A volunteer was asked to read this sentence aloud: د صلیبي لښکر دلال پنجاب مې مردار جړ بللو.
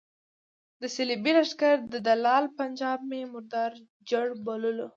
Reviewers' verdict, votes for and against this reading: accepted, 2, 0